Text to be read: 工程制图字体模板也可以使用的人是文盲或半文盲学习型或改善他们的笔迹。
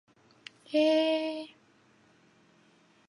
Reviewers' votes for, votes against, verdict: 0, 4, rejected